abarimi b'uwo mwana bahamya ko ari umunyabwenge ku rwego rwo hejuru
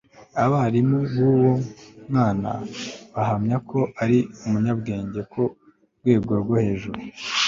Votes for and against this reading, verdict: 1, 2, rejected